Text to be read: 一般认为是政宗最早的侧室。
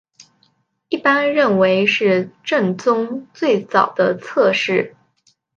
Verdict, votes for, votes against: accepted, 2, 1